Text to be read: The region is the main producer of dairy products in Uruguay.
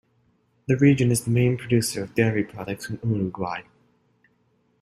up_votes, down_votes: 2, 0